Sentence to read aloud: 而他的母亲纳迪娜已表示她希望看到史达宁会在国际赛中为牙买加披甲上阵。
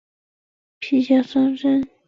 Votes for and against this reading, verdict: 0, 2, rejected